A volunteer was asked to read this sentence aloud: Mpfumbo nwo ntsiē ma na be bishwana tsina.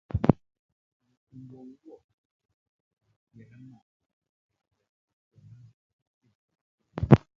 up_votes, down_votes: 0, 2